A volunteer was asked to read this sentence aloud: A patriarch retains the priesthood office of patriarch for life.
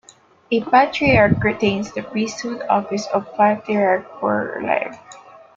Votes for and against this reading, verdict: 2, 1, accepted